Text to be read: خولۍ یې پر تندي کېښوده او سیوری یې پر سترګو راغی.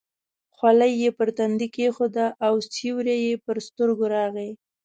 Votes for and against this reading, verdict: 2, 0, accepted